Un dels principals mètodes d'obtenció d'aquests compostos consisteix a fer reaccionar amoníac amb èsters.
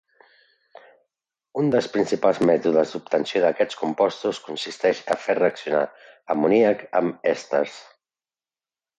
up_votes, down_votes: 2, 0